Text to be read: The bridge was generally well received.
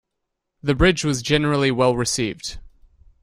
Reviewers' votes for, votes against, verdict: 2, 0, accepted